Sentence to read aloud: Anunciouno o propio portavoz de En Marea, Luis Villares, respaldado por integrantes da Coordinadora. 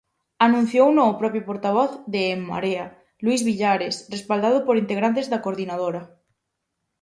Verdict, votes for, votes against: accepted, 4, 0